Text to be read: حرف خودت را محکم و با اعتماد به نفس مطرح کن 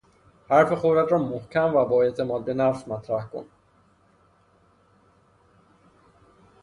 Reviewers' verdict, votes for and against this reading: rejected, 0, 3